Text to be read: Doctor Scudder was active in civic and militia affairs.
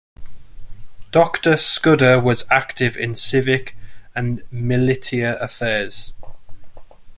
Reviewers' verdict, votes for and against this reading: rejected, 1, 2